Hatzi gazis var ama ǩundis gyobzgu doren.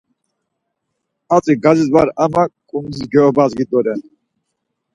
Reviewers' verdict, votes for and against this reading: accepted, 4, 0